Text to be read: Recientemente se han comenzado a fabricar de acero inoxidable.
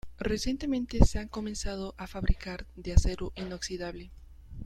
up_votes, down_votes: 0, 2